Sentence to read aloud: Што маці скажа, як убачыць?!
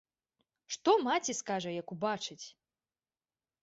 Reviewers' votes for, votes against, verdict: 2, 0, accepted